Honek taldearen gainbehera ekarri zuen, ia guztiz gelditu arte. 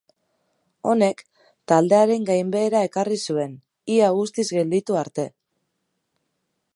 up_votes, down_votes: 3, 0